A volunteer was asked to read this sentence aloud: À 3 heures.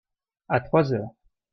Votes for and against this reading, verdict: 0, 2, rejected